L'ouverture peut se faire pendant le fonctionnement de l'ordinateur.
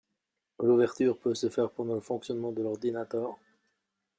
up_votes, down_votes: 2, 3